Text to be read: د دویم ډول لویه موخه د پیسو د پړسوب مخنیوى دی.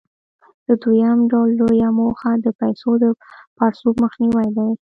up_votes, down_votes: 2, 0